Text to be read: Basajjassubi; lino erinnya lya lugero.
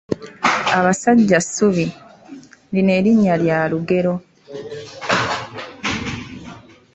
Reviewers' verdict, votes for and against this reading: rejected, 1, 2